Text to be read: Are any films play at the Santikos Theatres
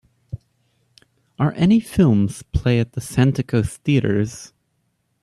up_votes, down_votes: 3, 0